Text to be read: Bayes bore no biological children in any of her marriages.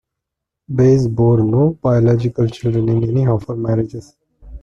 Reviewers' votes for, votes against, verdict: 2, 0, accepted